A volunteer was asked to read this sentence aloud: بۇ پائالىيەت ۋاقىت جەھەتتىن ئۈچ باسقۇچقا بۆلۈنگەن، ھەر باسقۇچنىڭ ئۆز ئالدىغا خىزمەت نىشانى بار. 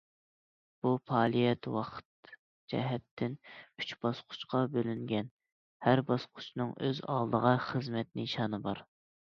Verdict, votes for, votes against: accepted, 2, 0